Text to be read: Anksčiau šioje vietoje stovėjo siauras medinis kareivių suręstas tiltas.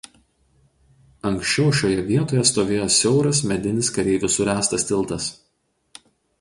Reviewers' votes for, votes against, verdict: 4, 0, accepted